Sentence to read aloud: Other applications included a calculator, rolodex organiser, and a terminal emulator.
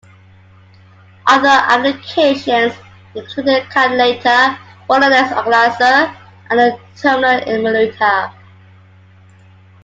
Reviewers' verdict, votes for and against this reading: accepted, 2, 1